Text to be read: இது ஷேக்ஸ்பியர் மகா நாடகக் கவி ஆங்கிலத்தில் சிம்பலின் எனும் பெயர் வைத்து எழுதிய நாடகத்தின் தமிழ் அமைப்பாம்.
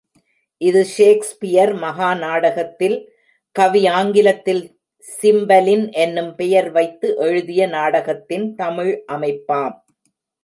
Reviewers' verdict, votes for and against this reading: rejected, 0, 2